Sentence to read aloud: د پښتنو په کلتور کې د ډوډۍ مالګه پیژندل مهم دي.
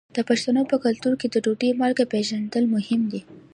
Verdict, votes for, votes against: accepted, 2, 0